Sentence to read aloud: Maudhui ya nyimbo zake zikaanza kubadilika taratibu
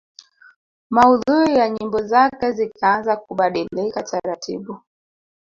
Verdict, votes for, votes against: accepted, 3, 2